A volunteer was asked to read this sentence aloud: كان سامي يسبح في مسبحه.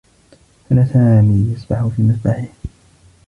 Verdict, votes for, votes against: rejected, 0, 2